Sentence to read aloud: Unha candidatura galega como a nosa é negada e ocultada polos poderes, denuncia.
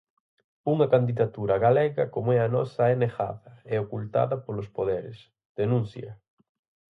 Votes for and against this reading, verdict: 0, 4, rejected